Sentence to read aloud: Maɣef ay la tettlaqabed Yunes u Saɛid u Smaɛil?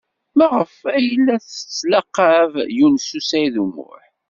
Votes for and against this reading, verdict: 1, 2, rejected